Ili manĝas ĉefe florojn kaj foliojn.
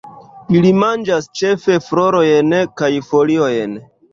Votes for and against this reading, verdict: 0, 2, rejected